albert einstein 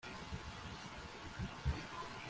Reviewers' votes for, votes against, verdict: 0, 2, rejected